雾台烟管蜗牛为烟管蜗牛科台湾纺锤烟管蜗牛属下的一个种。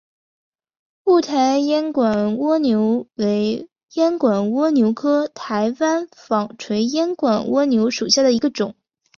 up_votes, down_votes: 3, 0